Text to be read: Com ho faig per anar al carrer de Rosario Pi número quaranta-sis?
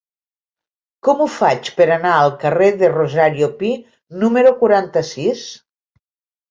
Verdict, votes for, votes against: accepted, 2, 0